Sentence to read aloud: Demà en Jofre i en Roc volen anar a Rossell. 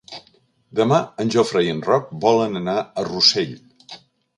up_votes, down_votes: 2, 0